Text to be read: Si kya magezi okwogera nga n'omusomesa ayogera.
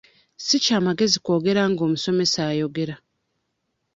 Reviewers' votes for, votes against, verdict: 1, 2, rejected